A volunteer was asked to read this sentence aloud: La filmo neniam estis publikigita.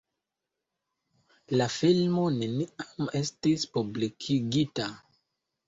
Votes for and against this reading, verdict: 2, 0, accepted